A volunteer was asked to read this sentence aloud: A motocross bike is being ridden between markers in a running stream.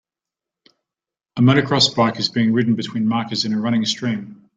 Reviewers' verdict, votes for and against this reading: accepted, 2, 0